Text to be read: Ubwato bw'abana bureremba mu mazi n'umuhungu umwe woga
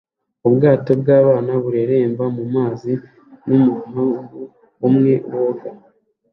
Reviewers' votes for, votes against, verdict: 2, 0, accepted